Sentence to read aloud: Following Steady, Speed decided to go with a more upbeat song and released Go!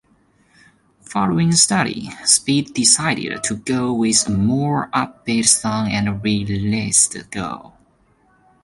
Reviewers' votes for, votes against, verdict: 2, 1, accepted